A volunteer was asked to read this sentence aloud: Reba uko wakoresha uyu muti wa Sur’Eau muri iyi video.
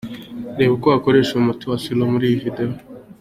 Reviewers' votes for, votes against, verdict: 2, 0, accepted